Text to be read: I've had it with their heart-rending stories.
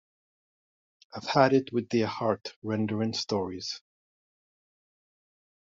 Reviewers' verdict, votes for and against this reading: rejected, 1, 2